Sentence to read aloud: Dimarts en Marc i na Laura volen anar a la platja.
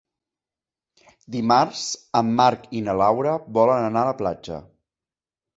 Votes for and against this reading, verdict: 2, 0, accepted